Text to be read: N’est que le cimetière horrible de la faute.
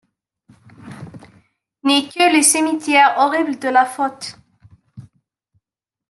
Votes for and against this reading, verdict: 0, 2, rejected